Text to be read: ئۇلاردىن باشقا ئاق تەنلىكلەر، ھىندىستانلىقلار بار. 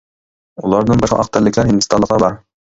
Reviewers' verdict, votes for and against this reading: rejected, 0, 2